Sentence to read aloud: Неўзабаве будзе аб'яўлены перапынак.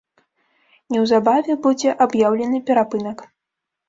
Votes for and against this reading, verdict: 2, 0, accepted